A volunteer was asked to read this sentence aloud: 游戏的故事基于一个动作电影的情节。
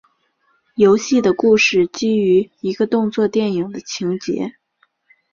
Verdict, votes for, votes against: accepted, 3, 0